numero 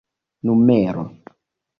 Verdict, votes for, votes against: accepted, 2, 0